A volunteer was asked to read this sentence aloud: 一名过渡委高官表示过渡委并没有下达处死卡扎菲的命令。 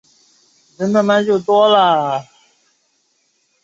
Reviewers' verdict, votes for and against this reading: rejected, 0, 3